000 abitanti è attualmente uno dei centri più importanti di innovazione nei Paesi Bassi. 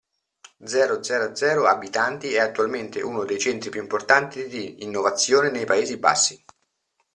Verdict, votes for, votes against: rejected, 0, 2